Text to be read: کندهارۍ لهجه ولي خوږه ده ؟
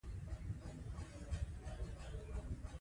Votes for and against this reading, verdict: 0, 2, rejected